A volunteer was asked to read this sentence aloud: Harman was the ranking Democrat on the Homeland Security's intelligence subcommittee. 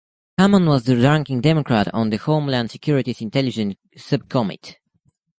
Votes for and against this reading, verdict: 0, 2, rejected